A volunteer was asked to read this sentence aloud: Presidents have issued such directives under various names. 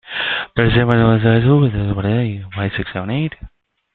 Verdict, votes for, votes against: rejected, 0, 2